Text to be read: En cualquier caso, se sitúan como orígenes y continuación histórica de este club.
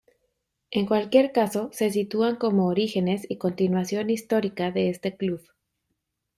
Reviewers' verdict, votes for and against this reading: accepted, 2, 0